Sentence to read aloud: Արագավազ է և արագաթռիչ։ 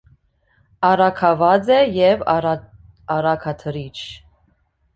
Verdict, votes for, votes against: rejected, 1, 2